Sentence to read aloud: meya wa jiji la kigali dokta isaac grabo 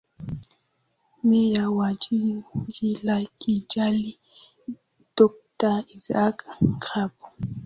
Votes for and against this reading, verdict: 0, 2, rejected